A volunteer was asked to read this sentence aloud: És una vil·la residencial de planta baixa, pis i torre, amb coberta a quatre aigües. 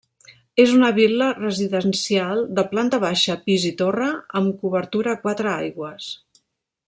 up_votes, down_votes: 0, 2